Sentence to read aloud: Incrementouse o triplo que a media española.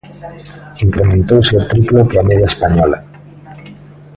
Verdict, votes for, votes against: rejected, 1, 2